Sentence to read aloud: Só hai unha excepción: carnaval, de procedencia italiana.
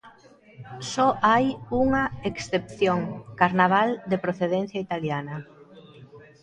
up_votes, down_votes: 2, 0